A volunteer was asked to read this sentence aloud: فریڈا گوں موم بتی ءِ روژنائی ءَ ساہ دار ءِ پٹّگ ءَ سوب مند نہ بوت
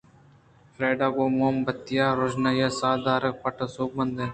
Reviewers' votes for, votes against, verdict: 2, 1, accepted